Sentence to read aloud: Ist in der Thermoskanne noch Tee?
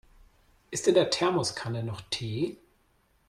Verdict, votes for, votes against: accepted, 2, 0